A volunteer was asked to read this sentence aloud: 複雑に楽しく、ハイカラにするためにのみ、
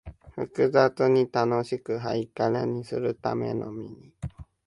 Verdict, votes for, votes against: rejected, 0, 2